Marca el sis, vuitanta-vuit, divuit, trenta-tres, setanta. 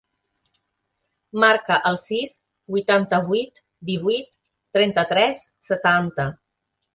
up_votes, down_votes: 3, 0